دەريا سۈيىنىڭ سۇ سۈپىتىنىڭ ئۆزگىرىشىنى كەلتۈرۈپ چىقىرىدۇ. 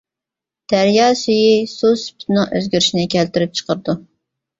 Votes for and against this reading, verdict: 1, 2, rejected